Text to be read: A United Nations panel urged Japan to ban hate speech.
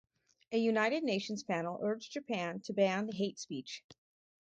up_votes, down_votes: 2, 2